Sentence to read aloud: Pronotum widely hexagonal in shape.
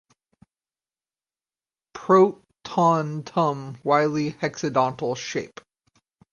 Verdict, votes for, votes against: rejected, 2, 4